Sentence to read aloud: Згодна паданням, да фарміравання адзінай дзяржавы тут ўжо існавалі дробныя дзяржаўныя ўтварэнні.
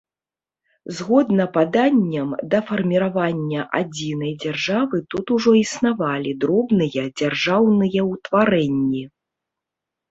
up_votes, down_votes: 2, 0